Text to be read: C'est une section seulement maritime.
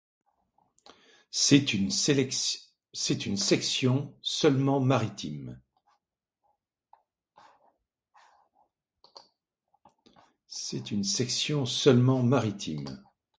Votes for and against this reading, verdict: 1, 2, rejected